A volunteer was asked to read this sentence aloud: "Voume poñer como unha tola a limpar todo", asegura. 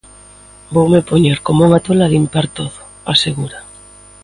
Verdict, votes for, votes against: accepted, 4, 0